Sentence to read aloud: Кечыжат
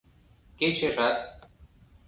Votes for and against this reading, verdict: 2, 0, accepted